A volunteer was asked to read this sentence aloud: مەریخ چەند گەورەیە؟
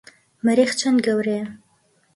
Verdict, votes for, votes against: accepted, 2, 0